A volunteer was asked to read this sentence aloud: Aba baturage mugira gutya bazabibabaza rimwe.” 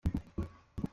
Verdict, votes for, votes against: rejected, 0, 4